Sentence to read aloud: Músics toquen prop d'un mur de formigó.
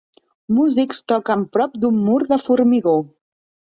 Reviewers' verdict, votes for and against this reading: accepted, 3, 0